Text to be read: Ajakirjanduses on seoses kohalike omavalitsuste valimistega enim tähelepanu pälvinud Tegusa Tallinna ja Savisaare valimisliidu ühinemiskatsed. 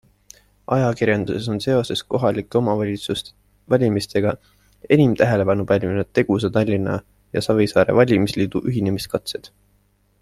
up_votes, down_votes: 3, 0